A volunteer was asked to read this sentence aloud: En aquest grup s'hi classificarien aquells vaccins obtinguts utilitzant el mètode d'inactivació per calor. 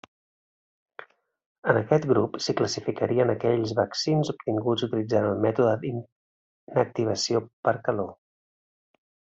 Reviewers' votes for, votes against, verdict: 1, 2, rejected